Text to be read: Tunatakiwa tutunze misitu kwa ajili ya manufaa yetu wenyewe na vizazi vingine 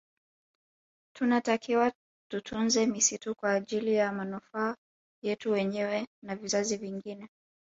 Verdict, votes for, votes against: accepted, 2, 0